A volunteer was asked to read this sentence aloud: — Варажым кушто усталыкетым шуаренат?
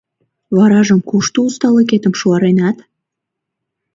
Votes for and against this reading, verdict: 2, 0, accepted